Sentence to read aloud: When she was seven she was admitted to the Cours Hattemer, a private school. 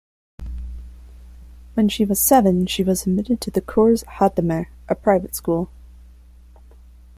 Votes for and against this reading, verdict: 2, 0, accepted